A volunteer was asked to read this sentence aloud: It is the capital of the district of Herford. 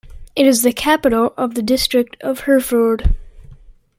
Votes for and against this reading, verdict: 2, 1, accepted